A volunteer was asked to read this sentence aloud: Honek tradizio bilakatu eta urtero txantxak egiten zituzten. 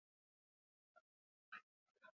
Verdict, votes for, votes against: accepted, 2, 0